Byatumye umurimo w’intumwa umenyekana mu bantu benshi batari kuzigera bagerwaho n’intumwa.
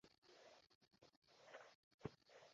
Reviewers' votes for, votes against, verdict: 0, 2, rejected